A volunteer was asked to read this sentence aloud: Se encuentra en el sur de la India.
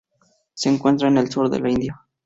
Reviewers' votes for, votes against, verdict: 2, 0, accepted